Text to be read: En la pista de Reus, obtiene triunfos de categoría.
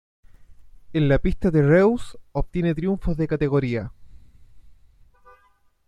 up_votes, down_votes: 2, 0